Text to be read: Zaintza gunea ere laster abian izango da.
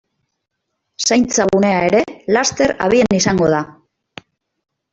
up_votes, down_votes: 0, 2